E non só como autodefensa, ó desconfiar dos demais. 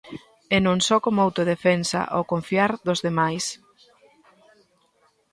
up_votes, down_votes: 0, 2